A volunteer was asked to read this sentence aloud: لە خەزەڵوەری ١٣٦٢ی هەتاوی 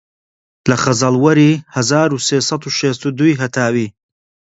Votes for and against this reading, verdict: 0, 2, rejected